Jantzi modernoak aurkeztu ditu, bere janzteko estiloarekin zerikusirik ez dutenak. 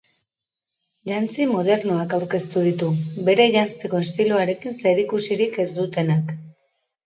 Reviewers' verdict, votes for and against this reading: accepted, 2, 0